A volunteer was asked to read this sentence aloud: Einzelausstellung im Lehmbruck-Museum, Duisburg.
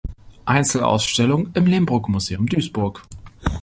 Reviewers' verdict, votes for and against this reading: accepted, 3, 0